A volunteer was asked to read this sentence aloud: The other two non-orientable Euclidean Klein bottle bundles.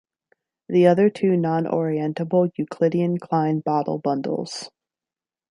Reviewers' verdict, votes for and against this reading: accepted, 2, 0